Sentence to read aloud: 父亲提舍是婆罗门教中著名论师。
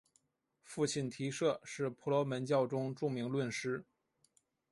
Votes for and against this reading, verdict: 3, 1, accepted